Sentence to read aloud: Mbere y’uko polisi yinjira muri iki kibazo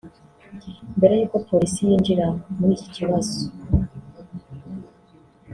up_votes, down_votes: 0, 2